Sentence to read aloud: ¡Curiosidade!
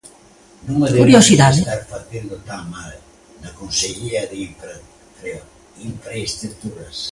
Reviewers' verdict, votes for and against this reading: rejected, 0, 2